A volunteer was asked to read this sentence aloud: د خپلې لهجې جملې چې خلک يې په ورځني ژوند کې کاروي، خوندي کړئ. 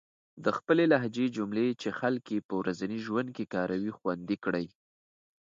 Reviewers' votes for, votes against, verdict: 2, 0, accepted